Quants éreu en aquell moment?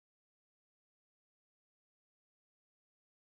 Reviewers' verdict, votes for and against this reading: rejected, 0, 2